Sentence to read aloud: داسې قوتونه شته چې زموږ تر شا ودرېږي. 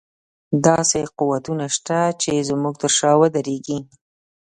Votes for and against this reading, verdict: 2, 0, accepted